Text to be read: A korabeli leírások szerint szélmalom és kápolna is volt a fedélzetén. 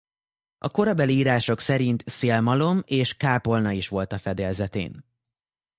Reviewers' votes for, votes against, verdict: 0, 2, rejected